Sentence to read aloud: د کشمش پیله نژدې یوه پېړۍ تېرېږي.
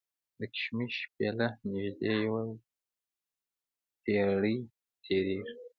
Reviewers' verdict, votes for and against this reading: rejected, 0, 2